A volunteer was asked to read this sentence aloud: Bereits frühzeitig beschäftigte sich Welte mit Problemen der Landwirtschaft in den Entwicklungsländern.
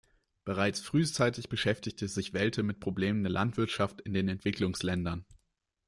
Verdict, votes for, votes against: rejected, 0, 2